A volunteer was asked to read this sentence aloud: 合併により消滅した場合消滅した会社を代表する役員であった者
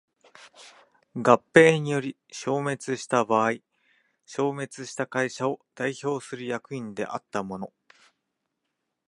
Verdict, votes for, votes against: rejected, 1, 2